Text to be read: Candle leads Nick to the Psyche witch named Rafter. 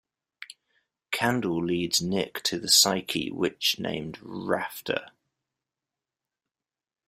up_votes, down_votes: 2, 0